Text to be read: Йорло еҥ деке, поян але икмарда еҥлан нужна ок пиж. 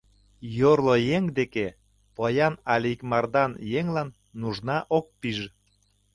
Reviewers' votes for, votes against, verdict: 0, 2, rejected